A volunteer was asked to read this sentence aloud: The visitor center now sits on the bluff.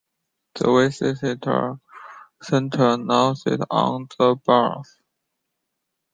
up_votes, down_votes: 2, 1